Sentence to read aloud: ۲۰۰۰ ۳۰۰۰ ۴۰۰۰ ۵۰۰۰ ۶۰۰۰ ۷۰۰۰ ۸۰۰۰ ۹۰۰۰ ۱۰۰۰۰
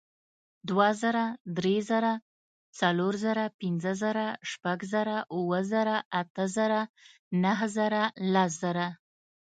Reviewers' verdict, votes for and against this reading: rejected, 0, 2